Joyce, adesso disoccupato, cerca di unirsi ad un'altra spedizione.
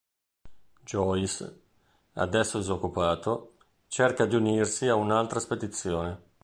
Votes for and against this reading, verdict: 2, 1, accepted